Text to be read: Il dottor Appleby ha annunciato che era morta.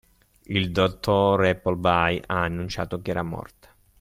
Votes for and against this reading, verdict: 2, 0, accepted